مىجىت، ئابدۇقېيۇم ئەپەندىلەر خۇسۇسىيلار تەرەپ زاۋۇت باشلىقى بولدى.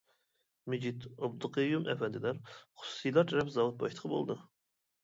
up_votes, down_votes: 0, 2